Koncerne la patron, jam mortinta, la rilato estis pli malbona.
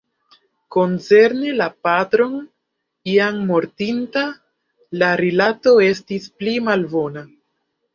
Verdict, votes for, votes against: accepted, 2, 0